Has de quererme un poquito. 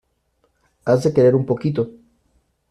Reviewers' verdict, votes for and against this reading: rejected, 1, 2